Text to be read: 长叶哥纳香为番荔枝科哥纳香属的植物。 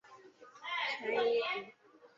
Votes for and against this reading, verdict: 0, 3, rejected